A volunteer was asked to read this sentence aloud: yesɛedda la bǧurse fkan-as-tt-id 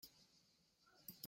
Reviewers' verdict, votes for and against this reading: rejected, 0, 2